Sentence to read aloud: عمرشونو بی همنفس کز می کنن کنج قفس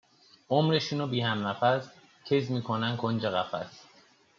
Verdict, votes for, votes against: accepted, 2, 0